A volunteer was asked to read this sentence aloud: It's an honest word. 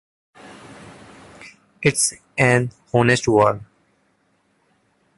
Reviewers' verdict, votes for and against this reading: accepted, 2, 1